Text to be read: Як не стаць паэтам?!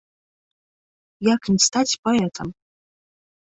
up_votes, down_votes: 0, 2